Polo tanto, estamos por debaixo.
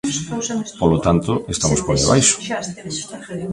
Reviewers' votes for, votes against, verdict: 1, 2, rejected